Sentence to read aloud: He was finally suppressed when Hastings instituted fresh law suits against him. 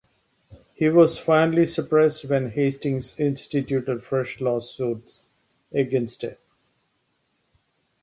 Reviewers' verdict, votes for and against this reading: rejected, 1, 2